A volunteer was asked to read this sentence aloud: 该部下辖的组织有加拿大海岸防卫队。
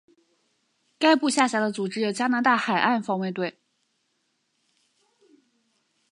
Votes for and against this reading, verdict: 6, 0, accepted